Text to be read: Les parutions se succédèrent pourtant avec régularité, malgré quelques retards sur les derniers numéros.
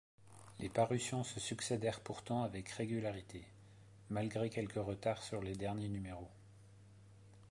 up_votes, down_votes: 2, 0